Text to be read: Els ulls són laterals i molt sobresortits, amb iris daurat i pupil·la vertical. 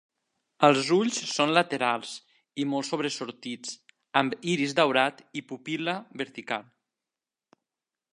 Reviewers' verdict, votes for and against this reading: accepted, 2, 0